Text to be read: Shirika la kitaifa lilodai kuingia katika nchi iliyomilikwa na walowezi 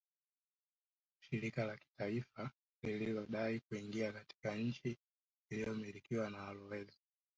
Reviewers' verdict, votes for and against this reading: rejected, 0, 2